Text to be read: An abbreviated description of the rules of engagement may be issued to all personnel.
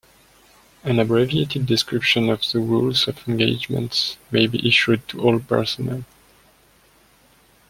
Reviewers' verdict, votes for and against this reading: accepted, 2, 0